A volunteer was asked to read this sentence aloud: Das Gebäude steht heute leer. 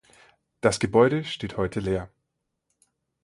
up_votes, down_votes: 4, 0